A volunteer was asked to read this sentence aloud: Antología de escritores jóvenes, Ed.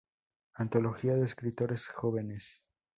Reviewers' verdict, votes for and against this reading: rejected, 0, 4